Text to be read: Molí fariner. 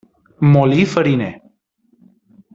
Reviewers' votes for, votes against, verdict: 2, 0, accepted